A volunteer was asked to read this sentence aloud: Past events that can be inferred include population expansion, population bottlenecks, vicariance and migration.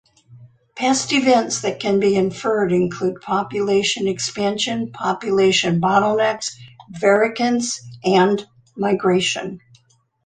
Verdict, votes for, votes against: accepted, 2, 0